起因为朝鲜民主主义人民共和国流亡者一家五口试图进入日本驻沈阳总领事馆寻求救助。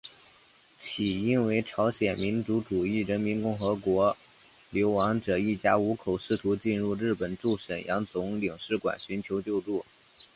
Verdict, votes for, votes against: accepted, 2, 0